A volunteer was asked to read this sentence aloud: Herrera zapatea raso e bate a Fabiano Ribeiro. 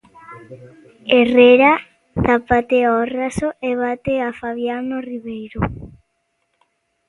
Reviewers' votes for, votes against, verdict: 0, 2, rejected